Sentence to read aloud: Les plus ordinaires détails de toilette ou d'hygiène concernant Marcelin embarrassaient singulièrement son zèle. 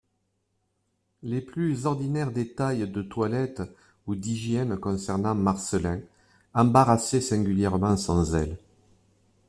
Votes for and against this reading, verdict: 2, 0, accepted